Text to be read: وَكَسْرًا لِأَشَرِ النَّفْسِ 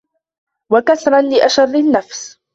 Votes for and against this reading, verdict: 1, 2, rejected